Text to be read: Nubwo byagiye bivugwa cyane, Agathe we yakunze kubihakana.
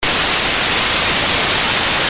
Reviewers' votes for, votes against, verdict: 0, 2, rejected